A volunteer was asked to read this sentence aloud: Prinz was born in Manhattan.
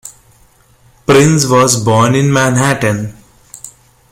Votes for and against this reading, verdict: 1, 2, rejected